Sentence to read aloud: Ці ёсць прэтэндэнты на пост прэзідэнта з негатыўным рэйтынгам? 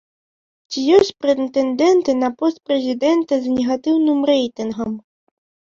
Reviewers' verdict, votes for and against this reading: rejected, 0, 2